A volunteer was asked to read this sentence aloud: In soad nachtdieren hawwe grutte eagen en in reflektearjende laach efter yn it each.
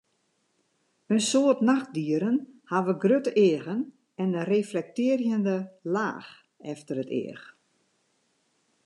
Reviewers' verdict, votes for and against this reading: rejected, 0, 2